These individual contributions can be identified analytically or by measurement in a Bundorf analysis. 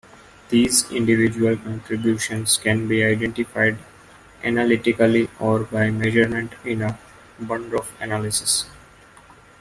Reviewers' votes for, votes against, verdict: 2, 0, accepted